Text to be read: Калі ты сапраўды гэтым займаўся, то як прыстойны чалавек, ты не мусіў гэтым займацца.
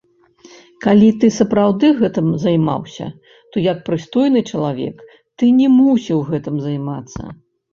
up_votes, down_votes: 0, 2